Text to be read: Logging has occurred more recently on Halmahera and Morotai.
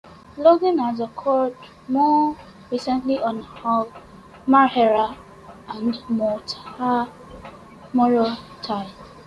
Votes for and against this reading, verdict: 0, 2, rejected